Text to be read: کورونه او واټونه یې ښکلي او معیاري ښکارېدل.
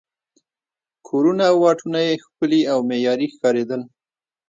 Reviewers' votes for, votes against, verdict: 0, 2, rejected